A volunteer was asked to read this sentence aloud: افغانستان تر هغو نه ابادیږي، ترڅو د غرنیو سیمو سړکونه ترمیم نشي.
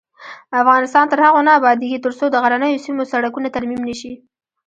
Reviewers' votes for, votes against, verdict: 0, 2, rejected